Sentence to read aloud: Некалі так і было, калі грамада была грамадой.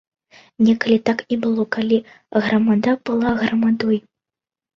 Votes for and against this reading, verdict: 2, 0, accepted